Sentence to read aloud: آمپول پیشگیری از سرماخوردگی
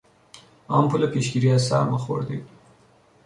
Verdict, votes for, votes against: accepted, 2, 1